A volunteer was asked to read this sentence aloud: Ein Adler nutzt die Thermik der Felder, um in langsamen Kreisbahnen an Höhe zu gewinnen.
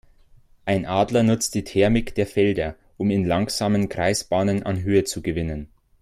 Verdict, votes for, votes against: accepted, 2, 0